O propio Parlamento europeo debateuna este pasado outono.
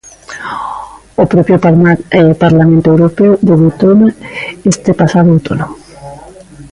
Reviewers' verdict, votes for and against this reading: rejected, 0, 2